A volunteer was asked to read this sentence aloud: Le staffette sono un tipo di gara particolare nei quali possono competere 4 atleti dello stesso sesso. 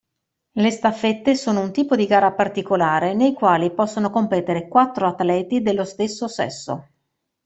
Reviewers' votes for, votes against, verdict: 0, 2, rejected